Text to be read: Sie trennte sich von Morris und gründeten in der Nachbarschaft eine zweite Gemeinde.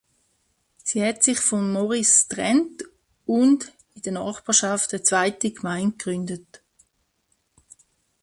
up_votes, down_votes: 0, 2